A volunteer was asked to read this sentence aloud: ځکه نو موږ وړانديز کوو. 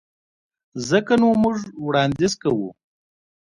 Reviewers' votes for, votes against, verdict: 1, 2, rejected